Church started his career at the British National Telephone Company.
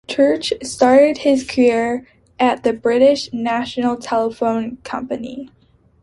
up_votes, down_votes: 2, 0